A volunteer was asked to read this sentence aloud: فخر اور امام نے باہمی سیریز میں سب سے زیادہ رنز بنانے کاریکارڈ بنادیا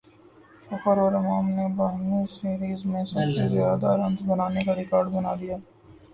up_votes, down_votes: 0, 2